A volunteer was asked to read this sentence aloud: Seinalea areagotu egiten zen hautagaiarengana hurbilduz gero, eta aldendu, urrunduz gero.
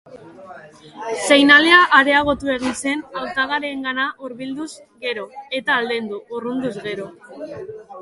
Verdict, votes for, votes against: rejected, 1, 2